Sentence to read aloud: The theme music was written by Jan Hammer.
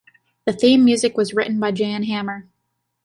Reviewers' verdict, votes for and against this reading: accepted, 2, 0